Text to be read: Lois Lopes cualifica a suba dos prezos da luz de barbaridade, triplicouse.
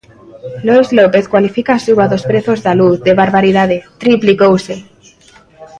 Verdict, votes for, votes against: rejected, 1, 2